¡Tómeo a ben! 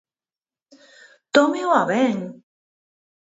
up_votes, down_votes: 4, 0